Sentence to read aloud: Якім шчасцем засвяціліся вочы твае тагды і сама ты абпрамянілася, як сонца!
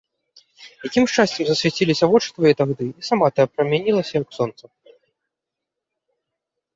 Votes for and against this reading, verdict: 2, 1, accepted